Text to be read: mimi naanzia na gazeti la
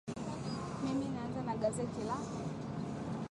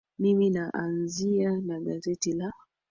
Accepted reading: first